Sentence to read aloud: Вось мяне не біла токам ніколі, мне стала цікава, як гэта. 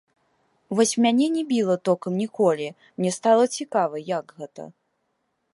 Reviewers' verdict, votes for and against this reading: rejected, 0, 2